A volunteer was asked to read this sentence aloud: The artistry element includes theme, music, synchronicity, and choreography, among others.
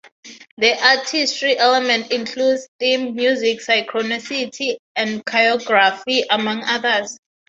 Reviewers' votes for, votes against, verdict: 3, 3, rejected